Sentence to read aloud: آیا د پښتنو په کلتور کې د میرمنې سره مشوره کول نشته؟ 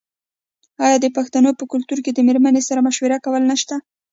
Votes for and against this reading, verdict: 2, 0, accepted